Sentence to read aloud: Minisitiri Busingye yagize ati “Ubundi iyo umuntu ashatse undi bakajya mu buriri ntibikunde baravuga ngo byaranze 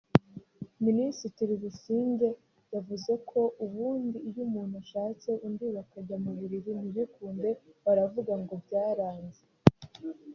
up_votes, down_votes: 2, 1